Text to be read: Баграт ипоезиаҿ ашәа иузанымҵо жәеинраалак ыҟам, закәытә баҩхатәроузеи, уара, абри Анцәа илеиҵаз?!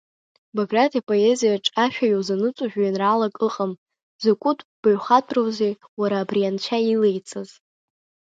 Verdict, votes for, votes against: rejected, 1, 2